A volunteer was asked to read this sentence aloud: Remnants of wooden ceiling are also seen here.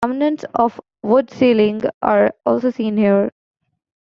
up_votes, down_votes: 1, 2